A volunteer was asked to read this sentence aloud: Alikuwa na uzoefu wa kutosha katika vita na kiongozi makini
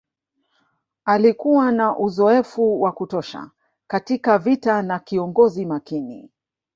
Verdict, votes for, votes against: rejected, 1, 2